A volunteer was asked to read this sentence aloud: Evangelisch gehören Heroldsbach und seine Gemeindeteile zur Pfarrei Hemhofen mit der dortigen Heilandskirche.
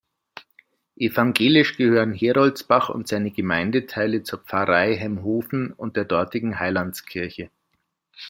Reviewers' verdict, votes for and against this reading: rejected, 0, 2